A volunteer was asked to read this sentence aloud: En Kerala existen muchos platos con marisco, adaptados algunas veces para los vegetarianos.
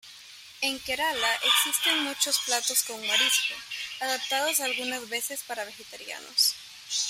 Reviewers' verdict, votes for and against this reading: rejected, 0, 2